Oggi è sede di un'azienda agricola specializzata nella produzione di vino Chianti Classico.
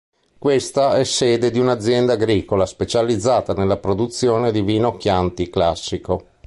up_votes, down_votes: 1, 2